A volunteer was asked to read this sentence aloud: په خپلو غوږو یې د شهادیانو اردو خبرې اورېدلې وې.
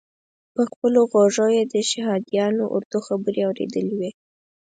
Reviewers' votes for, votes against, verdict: 4, 0, accepted